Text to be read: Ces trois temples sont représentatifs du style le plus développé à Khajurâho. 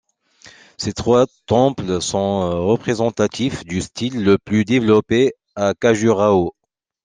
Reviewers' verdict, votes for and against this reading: accepted, 2, 0